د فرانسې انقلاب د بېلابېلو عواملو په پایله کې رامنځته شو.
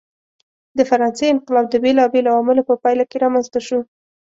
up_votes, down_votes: 2, 0